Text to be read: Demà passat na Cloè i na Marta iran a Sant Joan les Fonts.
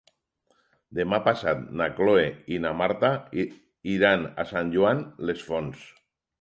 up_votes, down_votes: 2, 6